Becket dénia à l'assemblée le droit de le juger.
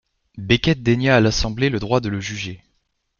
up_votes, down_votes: 2, 0